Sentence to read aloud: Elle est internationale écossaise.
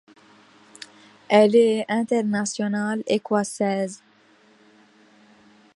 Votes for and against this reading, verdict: 2, 0, accepted